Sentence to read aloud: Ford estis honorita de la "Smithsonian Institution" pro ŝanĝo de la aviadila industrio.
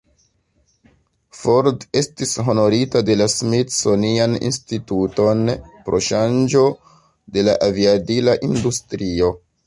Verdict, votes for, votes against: rejected, 1, 2